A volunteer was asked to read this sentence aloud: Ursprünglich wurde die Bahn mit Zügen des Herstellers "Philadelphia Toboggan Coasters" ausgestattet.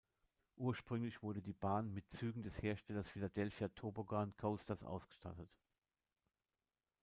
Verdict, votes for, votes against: rejected, 0, 2